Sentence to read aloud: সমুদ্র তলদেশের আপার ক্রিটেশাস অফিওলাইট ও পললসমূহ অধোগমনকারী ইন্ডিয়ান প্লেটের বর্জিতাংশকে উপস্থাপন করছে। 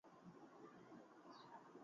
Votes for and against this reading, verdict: 0, 2, rejected